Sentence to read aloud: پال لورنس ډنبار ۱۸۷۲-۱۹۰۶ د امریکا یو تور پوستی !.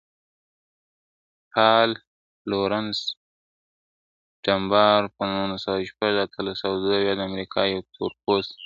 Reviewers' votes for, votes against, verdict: 0, 2, rejected